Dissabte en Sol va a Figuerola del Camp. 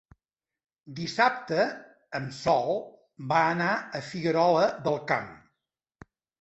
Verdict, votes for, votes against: rejected, 0, 2